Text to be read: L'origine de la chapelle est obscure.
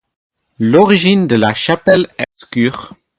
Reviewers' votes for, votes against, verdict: 4, 0, accepted